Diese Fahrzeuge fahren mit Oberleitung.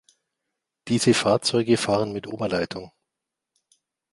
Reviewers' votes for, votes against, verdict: 3, 0, accepted